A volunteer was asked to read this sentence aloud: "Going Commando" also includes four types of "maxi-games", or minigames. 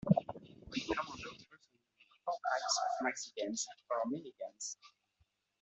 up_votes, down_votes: 0, 2